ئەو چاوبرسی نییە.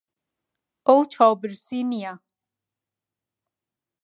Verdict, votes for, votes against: accepted, 4, 0